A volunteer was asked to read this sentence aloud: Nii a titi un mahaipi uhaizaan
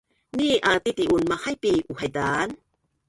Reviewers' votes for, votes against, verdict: 1, 2, rejected